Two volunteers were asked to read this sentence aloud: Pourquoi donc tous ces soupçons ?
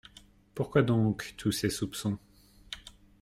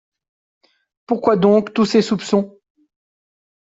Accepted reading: first